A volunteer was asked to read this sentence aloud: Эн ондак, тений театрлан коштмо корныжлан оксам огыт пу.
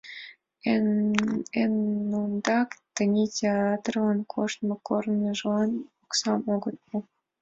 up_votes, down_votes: 1, 2